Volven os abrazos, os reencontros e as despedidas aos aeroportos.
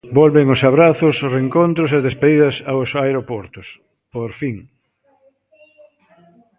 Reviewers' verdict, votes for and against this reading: rejected, 0, 3